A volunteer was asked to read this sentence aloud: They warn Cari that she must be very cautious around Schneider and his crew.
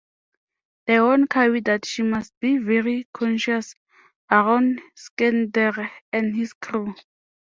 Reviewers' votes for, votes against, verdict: 1, 2, rejected